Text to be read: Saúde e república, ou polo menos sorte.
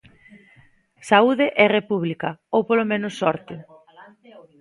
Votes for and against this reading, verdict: 0, 2, rejected